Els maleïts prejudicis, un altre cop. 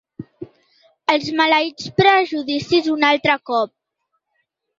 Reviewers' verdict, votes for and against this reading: accepted, 2, 0